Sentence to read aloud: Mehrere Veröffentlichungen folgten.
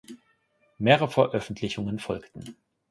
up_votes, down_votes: 1, 2